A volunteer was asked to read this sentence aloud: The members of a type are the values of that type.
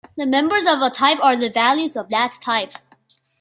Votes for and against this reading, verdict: 2, 1, accepted